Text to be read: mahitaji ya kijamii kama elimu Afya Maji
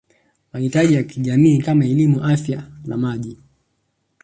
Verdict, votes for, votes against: accepted, 10, 0